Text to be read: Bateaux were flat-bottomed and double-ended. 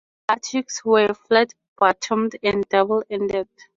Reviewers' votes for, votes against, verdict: 0, 4, rejected